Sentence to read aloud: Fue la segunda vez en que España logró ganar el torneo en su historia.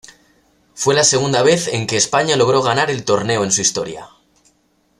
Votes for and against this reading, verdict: 2, 0, accepted